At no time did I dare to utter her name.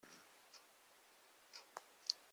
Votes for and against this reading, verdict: 0, 2, rejected